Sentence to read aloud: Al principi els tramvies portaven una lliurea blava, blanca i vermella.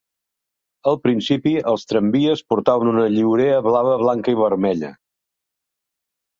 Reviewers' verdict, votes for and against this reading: accepted, 2, 0